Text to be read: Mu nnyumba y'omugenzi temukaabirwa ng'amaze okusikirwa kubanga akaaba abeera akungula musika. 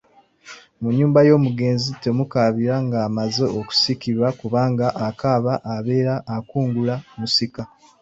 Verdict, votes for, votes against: rejected, 0, 2